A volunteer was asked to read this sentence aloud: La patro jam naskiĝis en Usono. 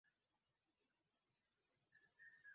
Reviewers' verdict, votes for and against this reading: rejected, 0, 2